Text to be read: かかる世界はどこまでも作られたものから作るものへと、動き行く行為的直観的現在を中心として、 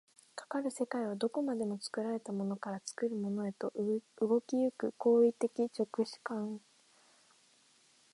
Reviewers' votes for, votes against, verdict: 2, 5, rejected